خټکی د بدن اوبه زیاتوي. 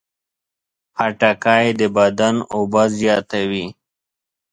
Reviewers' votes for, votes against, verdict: 2, 0, accepted